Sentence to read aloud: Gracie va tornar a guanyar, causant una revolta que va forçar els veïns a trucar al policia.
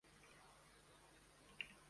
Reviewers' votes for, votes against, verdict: 1, 3, rejected